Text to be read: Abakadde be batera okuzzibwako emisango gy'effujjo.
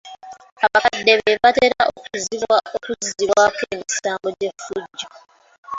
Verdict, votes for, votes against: rejected, 0, 2